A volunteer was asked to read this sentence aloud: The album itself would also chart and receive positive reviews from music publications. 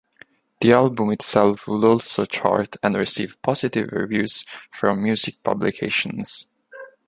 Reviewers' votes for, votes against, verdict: 2, 0, accepted